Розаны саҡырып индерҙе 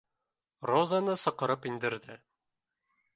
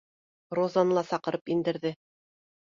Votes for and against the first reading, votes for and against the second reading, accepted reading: 2, 1, 1, 2, first